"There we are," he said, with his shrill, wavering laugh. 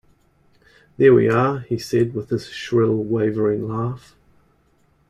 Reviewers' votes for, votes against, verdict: 2, 1, accepted